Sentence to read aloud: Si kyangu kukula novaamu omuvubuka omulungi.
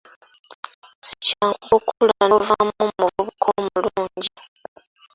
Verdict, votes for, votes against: accepted, 2, 1